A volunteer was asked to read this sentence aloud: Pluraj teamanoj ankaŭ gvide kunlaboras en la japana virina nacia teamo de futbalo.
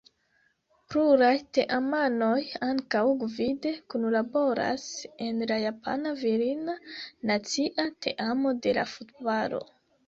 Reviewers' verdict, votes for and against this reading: rejected, 0, 2